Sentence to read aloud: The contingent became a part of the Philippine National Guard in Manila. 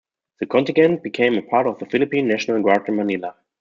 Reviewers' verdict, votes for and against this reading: rejected, 1, 2